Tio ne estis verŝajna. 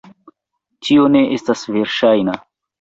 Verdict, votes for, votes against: rejected, 1, 2